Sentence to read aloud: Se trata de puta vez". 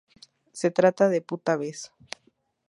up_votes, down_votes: 2, 0